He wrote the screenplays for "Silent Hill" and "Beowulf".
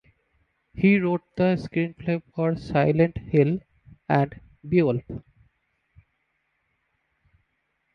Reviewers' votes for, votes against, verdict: 1, 2, rejected